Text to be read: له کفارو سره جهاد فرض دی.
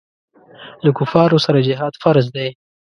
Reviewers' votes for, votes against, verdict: 2, 0, accepted